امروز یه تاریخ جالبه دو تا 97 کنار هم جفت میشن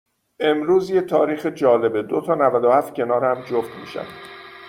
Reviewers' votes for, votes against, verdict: 0, 2, rejected